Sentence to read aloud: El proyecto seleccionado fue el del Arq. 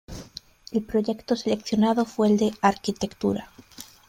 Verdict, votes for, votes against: rejected, 0, 2